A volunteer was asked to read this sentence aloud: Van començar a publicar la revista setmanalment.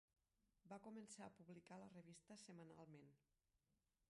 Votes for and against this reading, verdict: 0, 2, rejected